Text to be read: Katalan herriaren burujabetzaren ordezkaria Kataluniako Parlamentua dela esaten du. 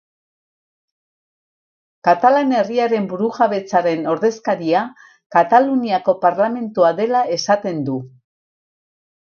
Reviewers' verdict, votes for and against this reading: accepted, 8, 0